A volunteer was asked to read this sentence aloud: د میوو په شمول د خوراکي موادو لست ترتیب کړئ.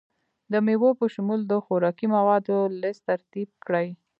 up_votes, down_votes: 2, 0